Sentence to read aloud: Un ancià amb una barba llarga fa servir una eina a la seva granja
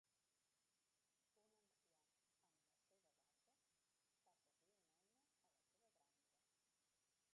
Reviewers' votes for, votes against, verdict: 0, 2, rejected